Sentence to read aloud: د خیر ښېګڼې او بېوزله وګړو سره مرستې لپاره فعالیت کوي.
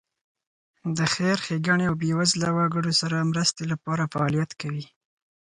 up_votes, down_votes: 4, 0